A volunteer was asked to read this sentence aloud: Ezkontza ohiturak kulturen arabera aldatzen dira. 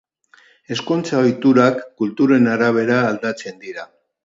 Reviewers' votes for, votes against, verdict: 2, 0, accepted